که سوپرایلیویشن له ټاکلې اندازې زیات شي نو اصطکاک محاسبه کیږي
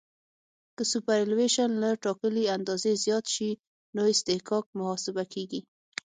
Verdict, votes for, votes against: rejected, 3, 6